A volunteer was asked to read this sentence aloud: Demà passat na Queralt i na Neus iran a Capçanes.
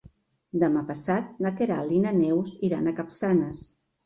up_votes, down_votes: 3, 0